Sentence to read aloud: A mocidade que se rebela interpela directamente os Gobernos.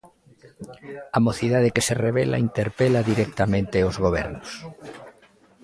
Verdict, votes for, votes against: accepted, 2, 1